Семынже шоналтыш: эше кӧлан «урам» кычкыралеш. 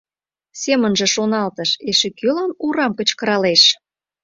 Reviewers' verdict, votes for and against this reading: accepted, 2, 0